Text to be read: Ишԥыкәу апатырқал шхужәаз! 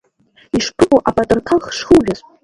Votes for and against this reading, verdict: 0, 3, rejected